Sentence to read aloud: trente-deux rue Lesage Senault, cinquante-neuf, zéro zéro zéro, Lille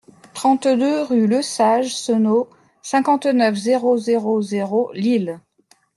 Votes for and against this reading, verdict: 2, 0, accepted